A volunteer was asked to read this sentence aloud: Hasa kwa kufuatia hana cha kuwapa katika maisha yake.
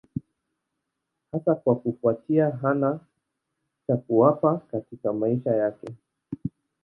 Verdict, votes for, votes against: accepted, 2, 0